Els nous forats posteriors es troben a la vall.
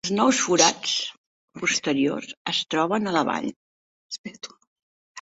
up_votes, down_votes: 3, 0